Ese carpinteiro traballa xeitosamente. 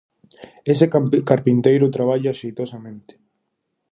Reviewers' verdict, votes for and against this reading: rejected, 0, 4